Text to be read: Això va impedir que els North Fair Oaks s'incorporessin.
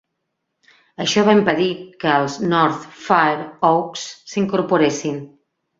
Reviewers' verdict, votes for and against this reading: accepted, 4, 0